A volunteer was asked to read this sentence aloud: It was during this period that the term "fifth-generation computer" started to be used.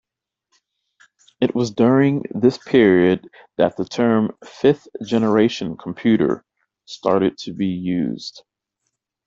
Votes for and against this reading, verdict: 2, 0, accepted